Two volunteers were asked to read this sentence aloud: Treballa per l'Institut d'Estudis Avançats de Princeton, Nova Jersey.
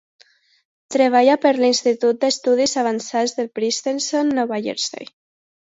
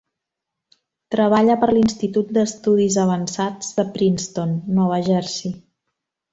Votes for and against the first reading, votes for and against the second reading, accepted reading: 0, 2, 3, 0, second